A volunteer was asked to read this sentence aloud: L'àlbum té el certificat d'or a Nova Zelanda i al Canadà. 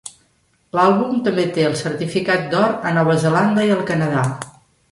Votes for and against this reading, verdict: 1, 2, rejected